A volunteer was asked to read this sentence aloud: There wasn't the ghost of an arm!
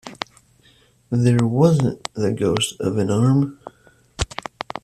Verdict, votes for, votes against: accepted, 2, 0